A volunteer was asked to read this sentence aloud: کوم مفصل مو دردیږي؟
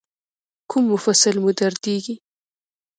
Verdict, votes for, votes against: accepted, 2, 1